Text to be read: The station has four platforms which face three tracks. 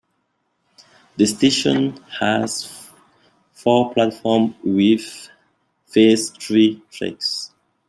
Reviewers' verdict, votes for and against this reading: rejected, 1, 2